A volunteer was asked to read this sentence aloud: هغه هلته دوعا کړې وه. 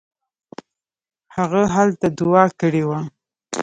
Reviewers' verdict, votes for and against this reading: rejected, 0, 2